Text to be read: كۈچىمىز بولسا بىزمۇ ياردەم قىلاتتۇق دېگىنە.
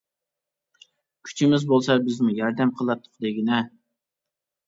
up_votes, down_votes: 2, 0